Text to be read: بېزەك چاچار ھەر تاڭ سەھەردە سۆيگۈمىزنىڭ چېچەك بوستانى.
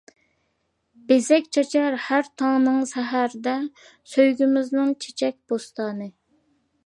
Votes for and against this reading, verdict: 0, 2, rejected